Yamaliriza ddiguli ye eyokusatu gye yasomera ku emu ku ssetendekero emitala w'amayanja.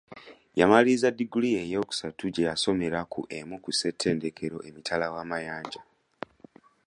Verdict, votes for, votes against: accepted, 2, 0